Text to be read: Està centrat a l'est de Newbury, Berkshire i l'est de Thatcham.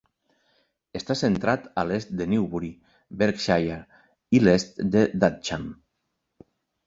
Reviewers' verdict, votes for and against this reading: accepted, 2, 1